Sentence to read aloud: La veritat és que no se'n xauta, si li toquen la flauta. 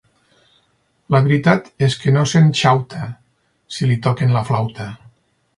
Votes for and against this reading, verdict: 2, 4, rejected